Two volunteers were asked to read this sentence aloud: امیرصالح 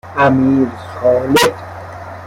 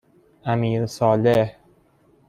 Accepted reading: second